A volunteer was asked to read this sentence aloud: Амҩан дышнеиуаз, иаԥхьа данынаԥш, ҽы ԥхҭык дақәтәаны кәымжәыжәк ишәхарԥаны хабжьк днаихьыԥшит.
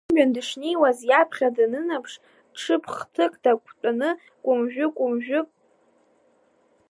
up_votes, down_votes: 0, 2